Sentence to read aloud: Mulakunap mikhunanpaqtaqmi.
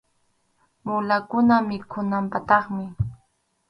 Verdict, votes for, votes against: accepted, 4, 0